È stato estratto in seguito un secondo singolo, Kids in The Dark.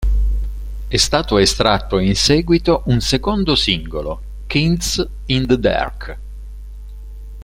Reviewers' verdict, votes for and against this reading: rejected, 0, 2